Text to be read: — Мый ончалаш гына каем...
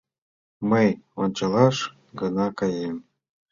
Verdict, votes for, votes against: accepted, 2, 0